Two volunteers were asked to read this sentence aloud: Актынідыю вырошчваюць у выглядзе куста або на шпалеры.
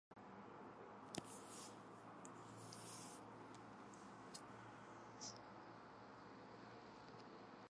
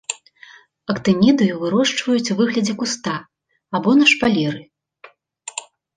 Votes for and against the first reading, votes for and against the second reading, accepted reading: 0, 2, 2, 0, second